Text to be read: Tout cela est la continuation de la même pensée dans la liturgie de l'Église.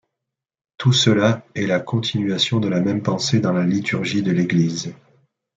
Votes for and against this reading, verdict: 2, 0, accepted